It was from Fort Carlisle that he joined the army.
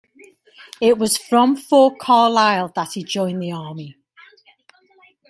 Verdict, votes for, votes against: rejected, 0, 2